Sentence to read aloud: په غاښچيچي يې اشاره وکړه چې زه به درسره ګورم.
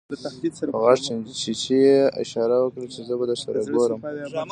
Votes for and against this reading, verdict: 1, 2, rejected